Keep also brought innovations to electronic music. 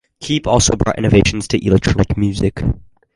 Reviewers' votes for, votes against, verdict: 4, 0, accepted